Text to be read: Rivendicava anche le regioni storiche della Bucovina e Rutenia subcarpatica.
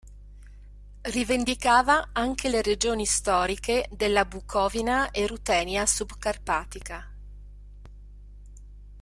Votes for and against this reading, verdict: 2, 0, accepted